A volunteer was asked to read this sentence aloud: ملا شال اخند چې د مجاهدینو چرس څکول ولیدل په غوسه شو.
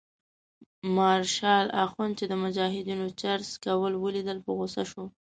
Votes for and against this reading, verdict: 0, 2, rejected